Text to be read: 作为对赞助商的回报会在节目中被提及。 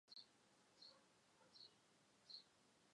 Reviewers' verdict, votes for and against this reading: rejected, 0, 7